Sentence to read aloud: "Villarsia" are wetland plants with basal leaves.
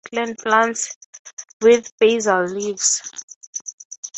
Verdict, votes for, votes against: rejected, 0, 3